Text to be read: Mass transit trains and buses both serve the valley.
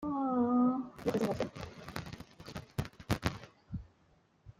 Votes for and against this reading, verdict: 0, 2, rejected